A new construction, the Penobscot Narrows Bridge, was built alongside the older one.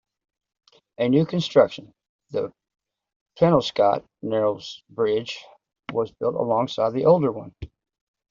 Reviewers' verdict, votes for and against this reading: accepted, 2, 1